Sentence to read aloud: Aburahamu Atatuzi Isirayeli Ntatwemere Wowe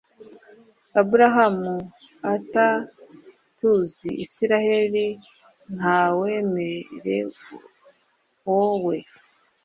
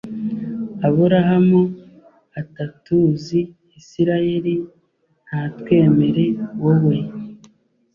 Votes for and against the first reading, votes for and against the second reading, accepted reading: 0, 3, 2, 0, second